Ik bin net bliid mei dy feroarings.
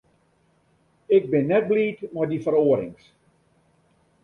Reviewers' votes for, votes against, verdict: 0, 2, rejected